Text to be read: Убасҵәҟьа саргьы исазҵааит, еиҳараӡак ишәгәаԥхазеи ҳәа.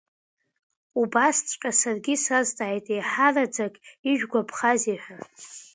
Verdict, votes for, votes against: accepted, 2, 0